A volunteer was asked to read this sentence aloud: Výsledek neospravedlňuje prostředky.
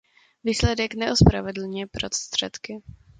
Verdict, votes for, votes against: accepted, 2, 0